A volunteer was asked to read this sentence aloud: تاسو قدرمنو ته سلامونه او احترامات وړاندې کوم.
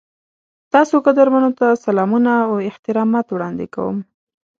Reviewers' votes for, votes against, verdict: 2, 0, accepted